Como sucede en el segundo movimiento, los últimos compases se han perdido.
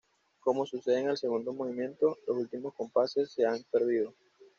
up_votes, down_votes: 2, 0